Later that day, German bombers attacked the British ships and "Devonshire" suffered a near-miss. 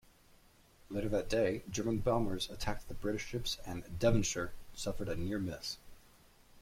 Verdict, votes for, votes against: accepted, 2, 0